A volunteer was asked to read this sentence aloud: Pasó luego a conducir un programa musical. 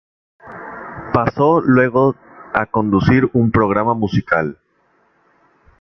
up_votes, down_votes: 2, 0